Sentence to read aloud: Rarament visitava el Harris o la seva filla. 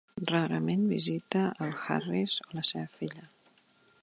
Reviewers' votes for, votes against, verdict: 1, 2, rejected